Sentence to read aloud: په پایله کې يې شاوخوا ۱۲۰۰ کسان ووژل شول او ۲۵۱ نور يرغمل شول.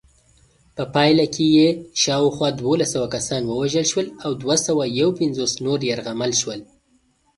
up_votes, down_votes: 0, 2